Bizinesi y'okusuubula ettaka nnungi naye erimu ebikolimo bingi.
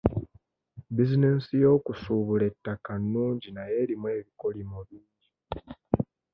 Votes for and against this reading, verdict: 1, 2, rejected